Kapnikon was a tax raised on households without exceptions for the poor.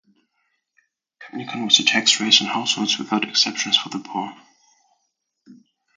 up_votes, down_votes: 0, 2